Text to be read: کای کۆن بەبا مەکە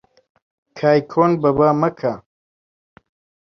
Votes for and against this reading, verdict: 2, 0, accepted